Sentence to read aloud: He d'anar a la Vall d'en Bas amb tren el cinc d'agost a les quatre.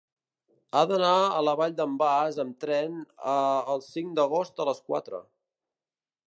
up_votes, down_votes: 0, 3